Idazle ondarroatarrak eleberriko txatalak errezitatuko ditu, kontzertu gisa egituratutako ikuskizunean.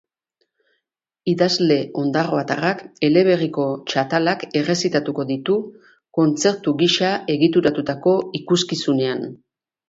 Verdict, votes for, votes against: accepted, 2, 0